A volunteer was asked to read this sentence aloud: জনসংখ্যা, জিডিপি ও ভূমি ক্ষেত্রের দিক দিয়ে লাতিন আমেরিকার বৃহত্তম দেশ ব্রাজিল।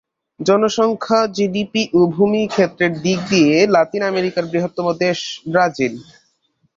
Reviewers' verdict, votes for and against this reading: accepted, 2, 0